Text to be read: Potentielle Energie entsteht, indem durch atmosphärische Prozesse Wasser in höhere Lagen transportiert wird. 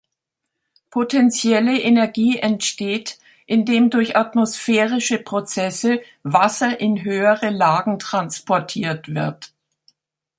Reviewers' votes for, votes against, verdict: 2, 0, accepted